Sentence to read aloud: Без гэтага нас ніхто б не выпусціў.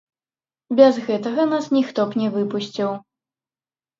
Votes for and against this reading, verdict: 1, 2, rejected